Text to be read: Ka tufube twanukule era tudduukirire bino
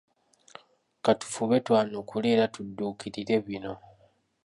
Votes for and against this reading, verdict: 2, 0, accepted